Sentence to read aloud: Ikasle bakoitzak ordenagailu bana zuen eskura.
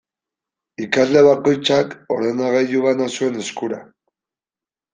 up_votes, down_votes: 2, 0